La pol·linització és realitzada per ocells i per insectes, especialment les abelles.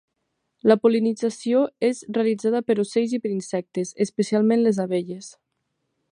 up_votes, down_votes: 8, 0